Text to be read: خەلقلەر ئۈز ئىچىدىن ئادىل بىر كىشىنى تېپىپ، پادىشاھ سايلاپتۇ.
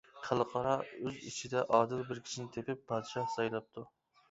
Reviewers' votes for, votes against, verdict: 0, 2, rejected